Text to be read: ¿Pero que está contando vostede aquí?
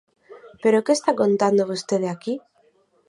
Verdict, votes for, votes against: accepted, 4, 0